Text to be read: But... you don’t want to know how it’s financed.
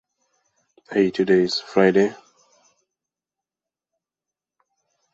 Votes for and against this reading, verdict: 0, 2, rejected